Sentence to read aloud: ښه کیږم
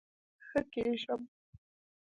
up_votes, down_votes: 0, 2